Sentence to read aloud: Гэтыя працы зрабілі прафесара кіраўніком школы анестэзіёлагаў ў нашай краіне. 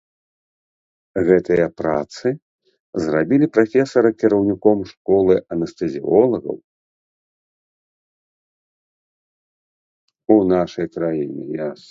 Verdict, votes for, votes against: rejected, 0, 2